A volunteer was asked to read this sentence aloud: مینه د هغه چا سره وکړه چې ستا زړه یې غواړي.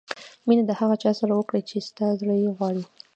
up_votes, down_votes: 1, 2